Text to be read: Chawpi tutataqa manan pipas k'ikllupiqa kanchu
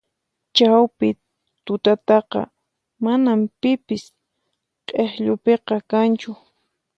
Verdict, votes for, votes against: rejected, 0, 4